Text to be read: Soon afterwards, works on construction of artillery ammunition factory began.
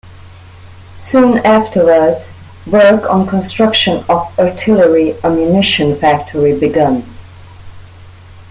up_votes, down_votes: 0, 2